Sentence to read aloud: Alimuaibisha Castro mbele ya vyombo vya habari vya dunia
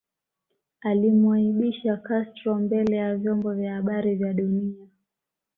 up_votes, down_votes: 1, 2